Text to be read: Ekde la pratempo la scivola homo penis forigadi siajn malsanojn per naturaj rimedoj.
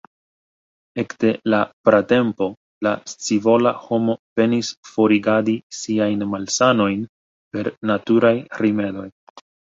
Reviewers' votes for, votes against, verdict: 2, 0, accepted